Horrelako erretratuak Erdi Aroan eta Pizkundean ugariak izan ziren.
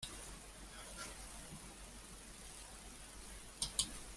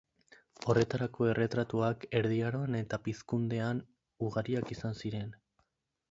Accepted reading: second